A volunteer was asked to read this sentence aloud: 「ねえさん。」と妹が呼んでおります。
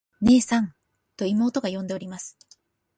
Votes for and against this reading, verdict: 2, 0, accepted